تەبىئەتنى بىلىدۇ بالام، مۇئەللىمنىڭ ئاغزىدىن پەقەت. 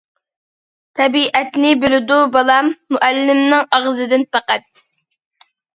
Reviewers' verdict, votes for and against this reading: accepted, 2, 0